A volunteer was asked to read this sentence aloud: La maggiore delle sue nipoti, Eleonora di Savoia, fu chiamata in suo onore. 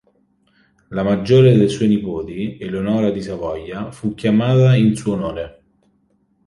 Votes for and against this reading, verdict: 3, 0, accepted